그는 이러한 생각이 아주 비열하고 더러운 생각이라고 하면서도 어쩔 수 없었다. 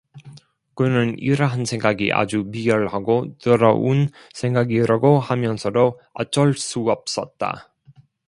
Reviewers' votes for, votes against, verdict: 1, 2, rejected